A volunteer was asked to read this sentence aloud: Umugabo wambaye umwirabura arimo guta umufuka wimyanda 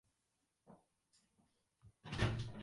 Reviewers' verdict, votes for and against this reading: rejected, 0, 2